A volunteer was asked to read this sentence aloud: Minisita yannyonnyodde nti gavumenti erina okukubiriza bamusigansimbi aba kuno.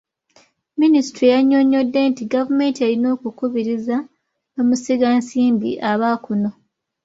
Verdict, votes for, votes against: accepted, 2, 0